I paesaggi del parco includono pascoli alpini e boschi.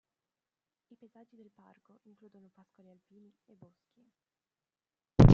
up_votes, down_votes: 0, 2